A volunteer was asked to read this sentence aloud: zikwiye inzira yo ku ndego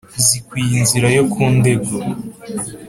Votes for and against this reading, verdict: 2, 0, accepted